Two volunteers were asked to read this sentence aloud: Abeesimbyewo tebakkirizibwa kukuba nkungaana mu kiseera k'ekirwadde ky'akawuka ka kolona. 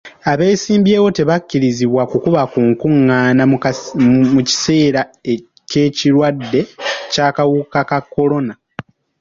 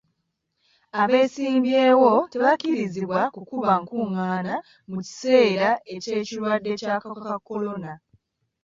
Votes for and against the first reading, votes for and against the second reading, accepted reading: 1, 2, 2, 0, second